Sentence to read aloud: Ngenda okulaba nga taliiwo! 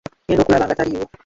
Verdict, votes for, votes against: rejected, 1, 2